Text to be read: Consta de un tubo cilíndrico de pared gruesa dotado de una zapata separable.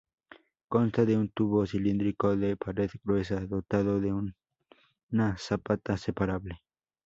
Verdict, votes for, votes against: rejected, 0, 2